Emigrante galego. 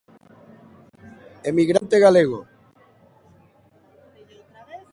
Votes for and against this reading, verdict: 2, 0, accepted